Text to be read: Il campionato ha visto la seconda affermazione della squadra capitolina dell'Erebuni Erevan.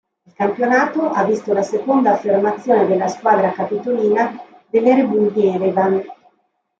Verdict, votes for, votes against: rejected, 1, 2